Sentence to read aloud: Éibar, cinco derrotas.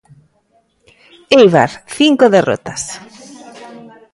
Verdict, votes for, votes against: accepted, 2, 0